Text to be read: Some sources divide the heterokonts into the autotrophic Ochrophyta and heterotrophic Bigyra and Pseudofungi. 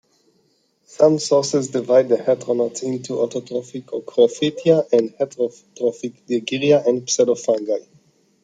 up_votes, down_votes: 0, 2